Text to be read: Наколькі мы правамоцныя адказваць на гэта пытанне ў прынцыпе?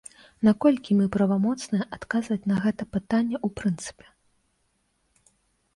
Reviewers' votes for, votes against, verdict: 2, 0, accepted